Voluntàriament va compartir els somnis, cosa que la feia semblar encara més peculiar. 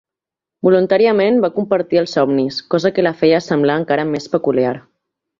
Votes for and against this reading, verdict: 2, 0, accepted